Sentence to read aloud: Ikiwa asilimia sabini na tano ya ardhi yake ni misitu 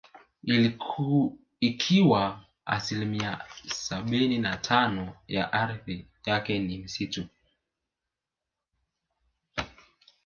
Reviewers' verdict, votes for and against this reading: accepted, 2, 1